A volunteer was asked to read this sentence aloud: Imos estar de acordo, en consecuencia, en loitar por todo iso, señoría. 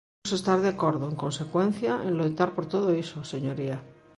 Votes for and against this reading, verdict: 0, 2, rejected